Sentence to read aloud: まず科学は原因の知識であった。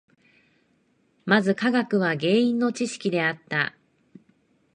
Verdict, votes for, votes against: accepted, 2, 0